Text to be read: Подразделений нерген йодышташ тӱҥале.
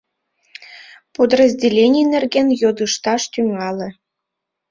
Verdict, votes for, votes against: rejected, 0, 2